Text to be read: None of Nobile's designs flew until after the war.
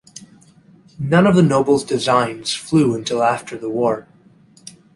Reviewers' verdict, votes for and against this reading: rejected, 0, 2